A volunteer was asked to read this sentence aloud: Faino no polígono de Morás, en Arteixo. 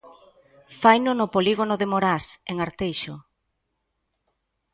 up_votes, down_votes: 2, 0